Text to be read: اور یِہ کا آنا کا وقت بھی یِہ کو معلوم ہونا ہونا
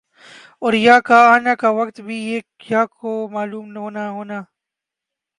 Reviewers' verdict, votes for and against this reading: rejected, 2, 3